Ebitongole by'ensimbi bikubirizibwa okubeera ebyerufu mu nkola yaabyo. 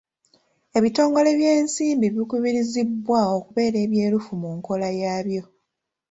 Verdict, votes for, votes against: accepted, 3, 0